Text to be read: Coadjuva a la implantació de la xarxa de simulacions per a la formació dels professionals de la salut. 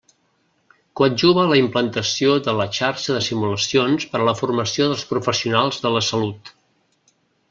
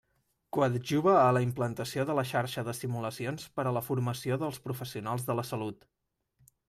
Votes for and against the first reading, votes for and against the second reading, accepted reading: 1, 2, 2, 0, second